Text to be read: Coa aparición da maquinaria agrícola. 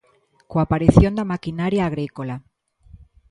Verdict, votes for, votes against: accepted, 2, 0